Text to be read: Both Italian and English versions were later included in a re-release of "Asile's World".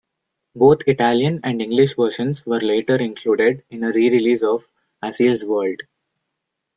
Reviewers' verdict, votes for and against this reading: accepted, 3, 1